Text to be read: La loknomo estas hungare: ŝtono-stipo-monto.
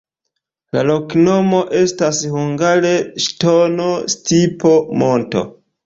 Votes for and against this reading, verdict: 3, 0, accepted